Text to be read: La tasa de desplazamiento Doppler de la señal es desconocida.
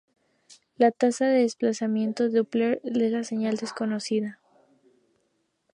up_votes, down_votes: 0, 2